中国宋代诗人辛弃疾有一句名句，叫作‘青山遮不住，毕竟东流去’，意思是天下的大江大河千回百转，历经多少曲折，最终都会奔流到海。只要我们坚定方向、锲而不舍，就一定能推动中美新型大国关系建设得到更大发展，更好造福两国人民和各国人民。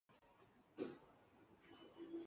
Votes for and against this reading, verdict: 1, 2, rejected